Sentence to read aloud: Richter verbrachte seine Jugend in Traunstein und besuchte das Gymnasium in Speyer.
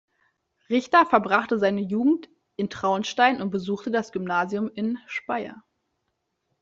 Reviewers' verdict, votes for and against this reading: accepted, 2, 0